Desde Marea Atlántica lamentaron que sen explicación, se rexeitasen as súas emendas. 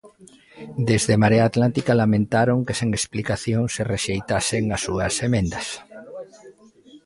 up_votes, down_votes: 2, 1